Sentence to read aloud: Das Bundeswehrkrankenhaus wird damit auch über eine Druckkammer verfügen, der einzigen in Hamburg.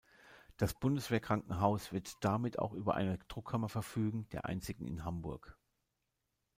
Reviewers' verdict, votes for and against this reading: rejected, 1, 2